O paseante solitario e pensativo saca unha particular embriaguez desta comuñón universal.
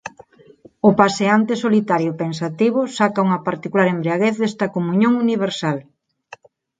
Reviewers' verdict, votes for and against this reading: accepted, 4, 0